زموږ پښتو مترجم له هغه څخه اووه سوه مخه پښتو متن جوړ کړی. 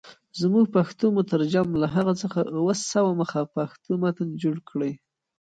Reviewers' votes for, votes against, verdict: 1, 2, rejected